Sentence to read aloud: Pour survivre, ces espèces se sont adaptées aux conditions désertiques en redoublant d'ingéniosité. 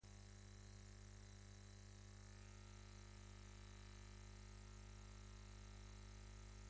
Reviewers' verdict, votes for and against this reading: rejected, 0, 2